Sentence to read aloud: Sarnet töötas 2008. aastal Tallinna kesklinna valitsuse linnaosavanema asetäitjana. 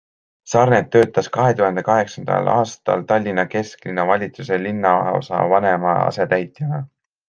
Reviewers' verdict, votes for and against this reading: rejected, 0, 2